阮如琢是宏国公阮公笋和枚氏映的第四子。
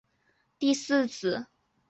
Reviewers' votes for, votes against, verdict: 0, 2, rejected